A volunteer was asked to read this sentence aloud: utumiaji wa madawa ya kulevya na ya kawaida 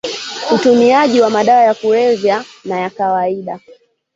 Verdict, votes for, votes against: rejected, 1, 3